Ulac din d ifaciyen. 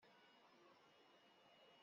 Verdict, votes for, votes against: rejected, 0, 2